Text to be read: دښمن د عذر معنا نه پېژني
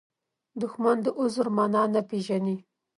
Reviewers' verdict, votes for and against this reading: accepted, 2, 0